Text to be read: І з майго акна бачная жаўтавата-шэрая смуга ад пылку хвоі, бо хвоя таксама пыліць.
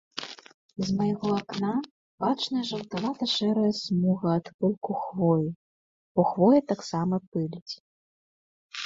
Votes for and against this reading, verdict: 1, 2, rejected